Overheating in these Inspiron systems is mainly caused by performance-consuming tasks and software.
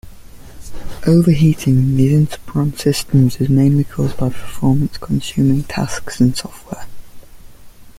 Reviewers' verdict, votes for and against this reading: rejected, 1, 2